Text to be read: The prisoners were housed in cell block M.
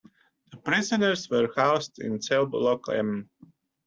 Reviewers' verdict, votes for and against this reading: accepted, 2, 1